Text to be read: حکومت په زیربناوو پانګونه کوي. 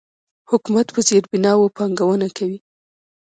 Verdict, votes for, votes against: rejected, 1, 2